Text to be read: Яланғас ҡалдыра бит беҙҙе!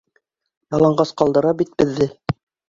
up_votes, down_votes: 3, 0